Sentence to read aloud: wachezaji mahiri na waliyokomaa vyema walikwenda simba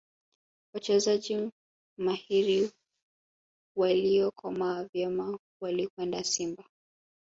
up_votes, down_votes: 2, 3